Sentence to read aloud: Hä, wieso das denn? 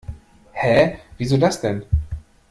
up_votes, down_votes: 2, 0